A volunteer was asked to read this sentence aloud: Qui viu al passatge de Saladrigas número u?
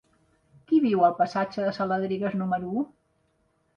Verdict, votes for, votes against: accepted, 3, 0